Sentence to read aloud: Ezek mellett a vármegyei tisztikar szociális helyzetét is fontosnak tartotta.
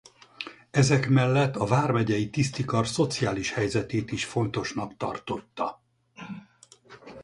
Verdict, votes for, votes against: accepted, 4, 0